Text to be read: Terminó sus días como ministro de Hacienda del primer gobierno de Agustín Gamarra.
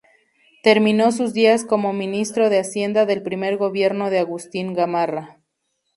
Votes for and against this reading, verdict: 2, 0, accepted